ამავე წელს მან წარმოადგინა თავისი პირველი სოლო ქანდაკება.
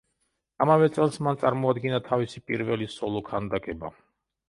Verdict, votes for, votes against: accepted, 2, 0